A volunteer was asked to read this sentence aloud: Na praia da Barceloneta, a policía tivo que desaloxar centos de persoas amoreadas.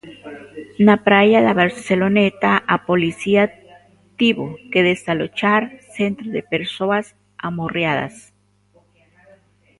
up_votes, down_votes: 1, 3